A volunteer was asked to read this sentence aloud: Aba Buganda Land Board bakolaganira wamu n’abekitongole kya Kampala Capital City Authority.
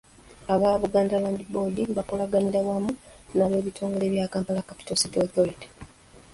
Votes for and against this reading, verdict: 1, 2, rejected